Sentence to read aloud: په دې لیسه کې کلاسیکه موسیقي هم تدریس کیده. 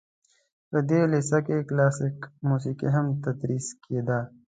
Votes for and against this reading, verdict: 2, 0, accepted